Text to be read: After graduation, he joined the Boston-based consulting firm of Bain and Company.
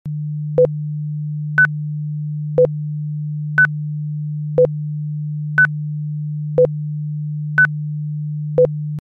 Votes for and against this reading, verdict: 0, 2, rejected